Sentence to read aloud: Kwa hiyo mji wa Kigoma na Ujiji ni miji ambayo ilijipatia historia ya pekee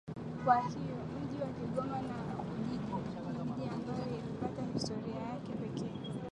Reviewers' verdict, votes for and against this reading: rejected, 6, 11